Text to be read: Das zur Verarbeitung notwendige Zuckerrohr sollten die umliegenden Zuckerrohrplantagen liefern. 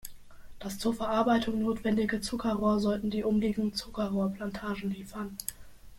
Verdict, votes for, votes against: accepted, 2, 1